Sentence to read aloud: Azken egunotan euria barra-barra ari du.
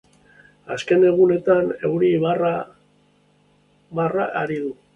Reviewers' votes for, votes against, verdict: 0, 2, rejected